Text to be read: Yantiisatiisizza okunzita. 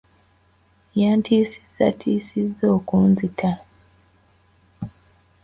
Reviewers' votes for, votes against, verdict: 0, 2, rejected